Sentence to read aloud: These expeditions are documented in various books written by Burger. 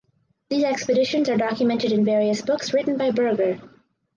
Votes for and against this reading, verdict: 4, 0, accepted